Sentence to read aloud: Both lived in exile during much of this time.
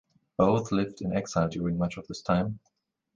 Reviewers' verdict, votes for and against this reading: accepted, 2, 0